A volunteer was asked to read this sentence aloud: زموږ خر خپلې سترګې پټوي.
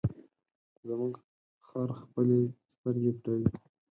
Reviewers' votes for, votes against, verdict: 2, 4, rejected